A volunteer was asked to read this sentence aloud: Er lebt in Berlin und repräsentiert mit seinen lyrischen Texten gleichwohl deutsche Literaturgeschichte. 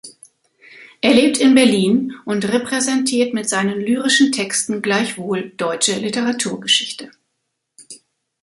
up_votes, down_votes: 2, 1